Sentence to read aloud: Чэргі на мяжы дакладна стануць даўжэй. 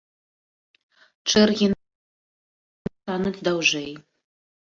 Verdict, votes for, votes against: rejected, 0, 2